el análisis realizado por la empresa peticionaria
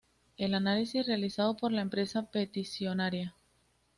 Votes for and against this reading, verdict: 2, 0, accepted